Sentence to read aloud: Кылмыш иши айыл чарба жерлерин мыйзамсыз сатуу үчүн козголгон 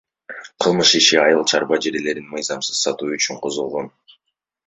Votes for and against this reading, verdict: 2, 1, accepted